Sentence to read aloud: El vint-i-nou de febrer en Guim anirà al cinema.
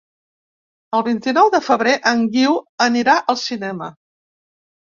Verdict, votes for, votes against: rejected, 1, 2